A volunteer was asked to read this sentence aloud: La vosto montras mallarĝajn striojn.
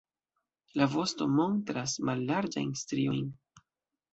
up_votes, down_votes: 0, 2